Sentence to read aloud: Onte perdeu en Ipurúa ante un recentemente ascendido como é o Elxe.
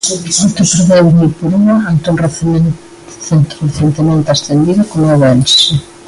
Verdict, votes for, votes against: rejected, 0, 2